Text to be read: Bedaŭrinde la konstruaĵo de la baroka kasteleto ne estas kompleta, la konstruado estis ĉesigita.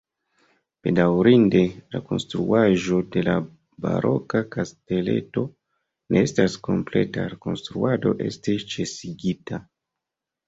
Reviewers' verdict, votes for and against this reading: rejected, 0, 2